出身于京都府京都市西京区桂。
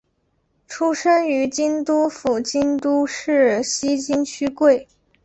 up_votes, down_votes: 2, 0